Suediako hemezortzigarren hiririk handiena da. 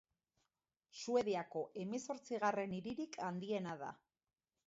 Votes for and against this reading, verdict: 2, 0, accepted